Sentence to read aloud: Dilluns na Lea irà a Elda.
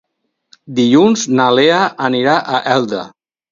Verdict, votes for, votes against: rejected, 2, 2